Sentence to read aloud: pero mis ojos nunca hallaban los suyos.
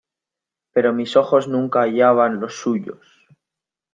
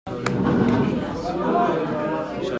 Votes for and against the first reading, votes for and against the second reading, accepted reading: 2, 0, 0, 2, first